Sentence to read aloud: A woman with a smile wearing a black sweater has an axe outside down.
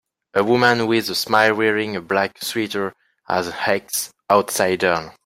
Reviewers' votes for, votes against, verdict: 2, 1, accepted